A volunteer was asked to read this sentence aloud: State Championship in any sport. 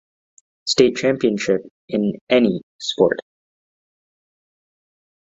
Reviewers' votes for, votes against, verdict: 3, 0, accepted